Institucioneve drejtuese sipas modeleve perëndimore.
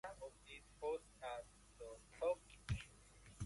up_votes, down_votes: 0, 2